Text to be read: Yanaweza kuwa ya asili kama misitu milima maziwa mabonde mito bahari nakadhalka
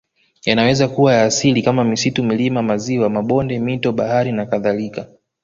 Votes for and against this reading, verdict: 2, 0, accepted